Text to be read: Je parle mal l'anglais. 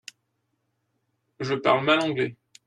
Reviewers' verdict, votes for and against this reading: rejected, 1, 2